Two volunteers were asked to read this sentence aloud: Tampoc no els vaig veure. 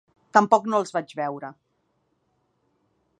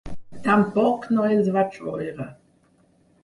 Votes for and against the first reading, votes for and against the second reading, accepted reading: 3, 0, 2, 6, first